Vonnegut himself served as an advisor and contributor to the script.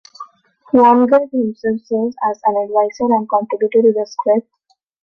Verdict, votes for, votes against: rejected, 1, 2